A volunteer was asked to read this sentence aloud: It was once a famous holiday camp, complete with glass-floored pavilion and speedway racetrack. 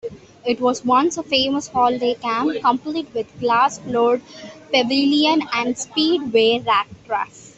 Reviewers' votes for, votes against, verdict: 2, 1, accepted